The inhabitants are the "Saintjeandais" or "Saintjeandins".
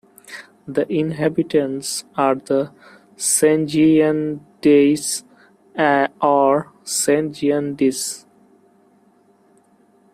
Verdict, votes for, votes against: rejected, 1, 2